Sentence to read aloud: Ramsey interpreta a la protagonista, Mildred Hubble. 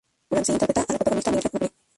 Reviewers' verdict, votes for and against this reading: rejected, 0, 2